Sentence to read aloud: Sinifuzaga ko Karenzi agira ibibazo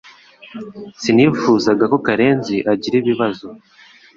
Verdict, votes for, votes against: accepted, 2, 0